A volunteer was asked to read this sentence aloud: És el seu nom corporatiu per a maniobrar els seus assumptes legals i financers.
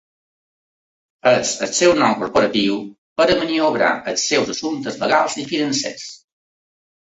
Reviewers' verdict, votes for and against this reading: accepted, 2, 1